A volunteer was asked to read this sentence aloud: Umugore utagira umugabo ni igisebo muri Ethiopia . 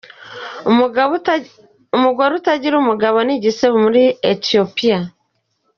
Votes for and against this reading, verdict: 0, 3, rejected